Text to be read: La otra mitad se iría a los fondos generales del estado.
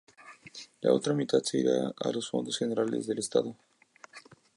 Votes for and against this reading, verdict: 2, 0, accepted